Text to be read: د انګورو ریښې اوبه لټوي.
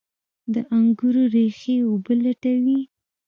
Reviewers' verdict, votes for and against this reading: rejected, 0, 2